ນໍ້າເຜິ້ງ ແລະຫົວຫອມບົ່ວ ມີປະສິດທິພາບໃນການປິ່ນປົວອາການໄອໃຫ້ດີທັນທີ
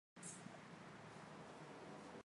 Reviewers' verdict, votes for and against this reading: rejected, 0, 2